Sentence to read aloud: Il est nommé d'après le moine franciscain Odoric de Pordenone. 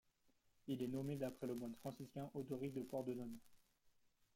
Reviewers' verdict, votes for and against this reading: rejected, 1, 2